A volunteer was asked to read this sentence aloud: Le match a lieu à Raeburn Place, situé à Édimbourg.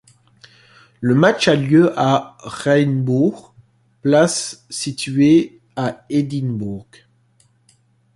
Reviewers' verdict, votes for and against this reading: rejected, 0, 2